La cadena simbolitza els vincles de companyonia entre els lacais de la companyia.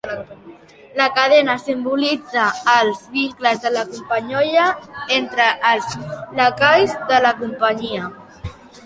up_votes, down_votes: 2, 1